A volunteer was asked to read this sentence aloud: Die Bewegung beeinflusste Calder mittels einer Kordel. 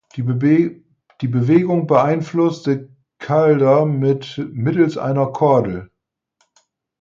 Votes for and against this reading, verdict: 0, 4, rejected